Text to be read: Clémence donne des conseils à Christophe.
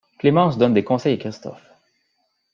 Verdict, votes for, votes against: accepted, 2, 0